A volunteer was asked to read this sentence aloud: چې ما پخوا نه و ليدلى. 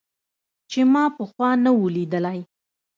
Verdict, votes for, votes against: accepted, 2, 0